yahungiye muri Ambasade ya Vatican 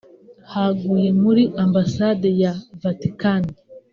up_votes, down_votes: 1, 2